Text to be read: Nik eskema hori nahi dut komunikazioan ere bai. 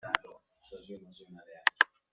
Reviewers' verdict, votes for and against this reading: rejected, 0, 2